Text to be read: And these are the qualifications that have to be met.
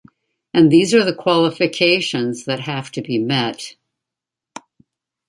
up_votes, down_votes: 2, 0